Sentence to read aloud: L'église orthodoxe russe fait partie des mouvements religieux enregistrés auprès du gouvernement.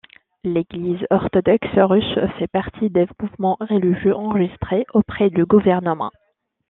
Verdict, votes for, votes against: accepted, 2, 0